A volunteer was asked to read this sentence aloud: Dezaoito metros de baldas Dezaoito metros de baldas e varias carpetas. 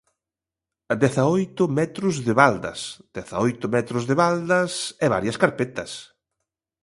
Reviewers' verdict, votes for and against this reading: accepted, 2, 0